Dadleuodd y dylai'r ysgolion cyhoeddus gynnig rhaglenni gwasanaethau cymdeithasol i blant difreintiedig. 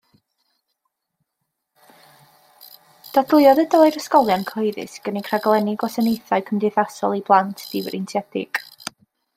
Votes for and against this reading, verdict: 2, 0, accepted